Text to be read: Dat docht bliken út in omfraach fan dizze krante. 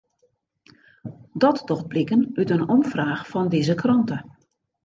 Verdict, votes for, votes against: accepted, 2, 0